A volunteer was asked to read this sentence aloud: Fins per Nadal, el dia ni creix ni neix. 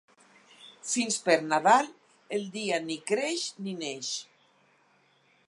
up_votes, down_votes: 4, 0